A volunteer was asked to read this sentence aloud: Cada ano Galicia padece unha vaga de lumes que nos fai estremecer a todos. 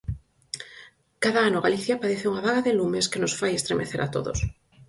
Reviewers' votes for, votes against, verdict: 4, 0, accepted